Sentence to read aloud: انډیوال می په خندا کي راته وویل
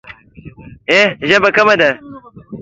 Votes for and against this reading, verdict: 0, 2, rejected